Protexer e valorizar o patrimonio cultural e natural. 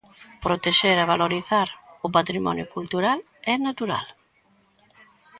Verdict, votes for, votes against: accepted, 2, 0